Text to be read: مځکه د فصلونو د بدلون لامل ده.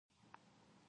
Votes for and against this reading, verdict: 0, 2, rejected